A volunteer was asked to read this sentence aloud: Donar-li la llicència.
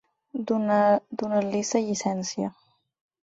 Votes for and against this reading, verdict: 4, 6, rejected